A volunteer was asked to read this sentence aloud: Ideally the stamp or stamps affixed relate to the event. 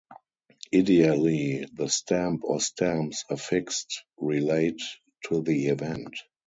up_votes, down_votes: 4, 2